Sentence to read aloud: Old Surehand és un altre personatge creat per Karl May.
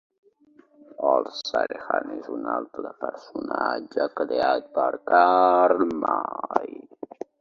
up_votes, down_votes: 2, 1